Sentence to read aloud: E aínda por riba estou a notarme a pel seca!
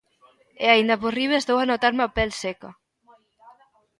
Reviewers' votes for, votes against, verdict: 2, 1, accepted